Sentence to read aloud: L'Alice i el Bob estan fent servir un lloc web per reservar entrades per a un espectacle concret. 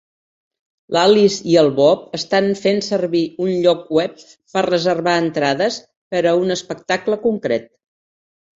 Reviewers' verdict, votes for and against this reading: accepted, 3, 0